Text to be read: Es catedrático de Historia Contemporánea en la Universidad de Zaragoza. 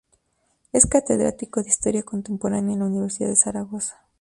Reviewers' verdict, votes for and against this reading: accepted, 4, 0